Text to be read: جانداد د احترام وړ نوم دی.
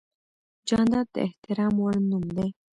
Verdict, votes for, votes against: rejected, 1, 2